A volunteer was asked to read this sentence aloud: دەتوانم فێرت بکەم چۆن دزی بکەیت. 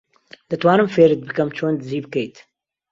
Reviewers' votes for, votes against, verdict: 2, 0, accepted